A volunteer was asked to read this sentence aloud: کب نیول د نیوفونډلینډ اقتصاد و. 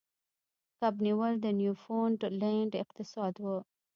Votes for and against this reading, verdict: 1, 2, rejected